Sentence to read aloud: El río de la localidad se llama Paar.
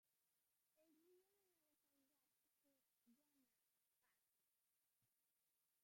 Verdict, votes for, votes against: rejected, 0, 2